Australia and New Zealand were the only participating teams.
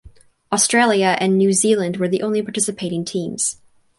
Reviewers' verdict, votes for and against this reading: accepted, 4, 0